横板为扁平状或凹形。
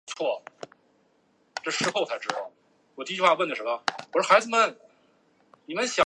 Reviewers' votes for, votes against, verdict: 0, 2, rejected